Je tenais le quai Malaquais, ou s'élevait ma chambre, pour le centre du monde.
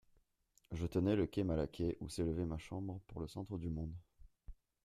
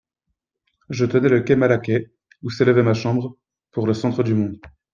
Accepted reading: second